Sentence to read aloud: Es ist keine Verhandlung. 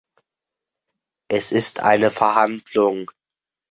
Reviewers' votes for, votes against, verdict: 0, 2, rejected